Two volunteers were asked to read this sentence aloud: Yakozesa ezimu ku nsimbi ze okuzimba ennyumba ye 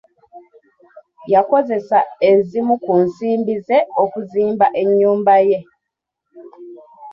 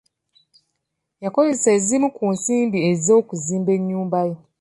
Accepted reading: first